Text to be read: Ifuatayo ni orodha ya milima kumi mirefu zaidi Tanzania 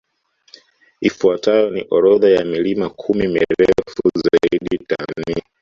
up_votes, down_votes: 1, 2